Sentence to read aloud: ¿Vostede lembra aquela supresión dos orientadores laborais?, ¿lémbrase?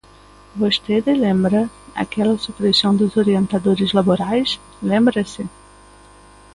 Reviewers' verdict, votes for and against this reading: rejected, 1, 2